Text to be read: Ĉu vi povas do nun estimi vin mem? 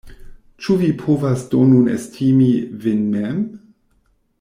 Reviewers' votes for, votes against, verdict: 2, 0, accepted